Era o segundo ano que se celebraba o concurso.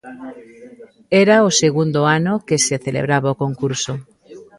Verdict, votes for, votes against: rejected, 1, 2